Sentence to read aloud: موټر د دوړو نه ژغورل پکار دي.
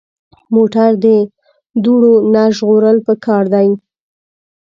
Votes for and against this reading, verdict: 2, 0, accepted